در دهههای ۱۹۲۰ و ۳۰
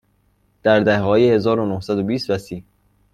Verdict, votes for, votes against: rejected, 0, 2